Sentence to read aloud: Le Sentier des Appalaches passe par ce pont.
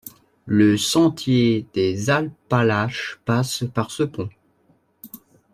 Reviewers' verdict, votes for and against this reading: rejected, 1, 2